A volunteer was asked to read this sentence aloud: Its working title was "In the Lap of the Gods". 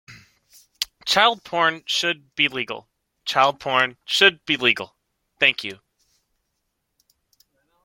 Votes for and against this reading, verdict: 0, 2, rejected